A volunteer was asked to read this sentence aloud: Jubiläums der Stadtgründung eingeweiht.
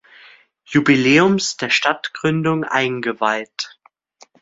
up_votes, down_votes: 2, 0